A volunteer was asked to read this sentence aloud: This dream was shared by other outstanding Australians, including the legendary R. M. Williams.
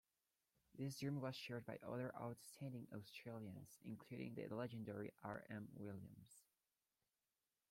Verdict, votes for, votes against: rejected, 0, 2